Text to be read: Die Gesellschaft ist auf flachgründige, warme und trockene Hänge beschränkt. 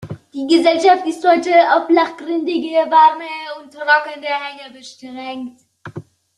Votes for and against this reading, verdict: 0, 2, rejected